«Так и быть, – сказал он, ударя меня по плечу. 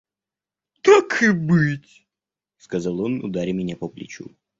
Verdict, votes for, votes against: accepted, 2, 0